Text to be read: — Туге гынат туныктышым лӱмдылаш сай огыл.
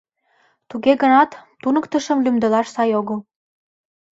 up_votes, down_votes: 2, 0